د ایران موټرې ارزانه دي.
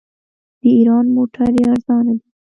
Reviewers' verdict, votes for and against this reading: accepted, 2, 0